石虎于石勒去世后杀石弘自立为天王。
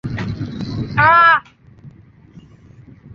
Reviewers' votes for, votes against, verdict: 1, 4, rejected